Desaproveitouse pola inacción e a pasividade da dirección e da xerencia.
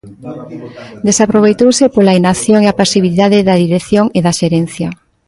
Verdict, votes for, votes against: accepted, 2, 1